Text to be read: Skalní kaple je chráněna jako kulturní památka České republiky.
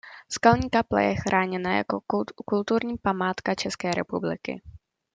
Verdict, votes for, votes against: rejected, 0, 2